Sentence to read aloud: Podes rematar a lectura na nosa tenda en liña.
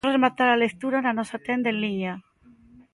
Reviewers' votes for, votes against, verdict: 0, 2, rejected